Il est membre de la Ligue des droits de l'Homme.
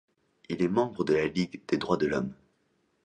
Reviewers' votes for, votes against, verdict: 2, 0, accepted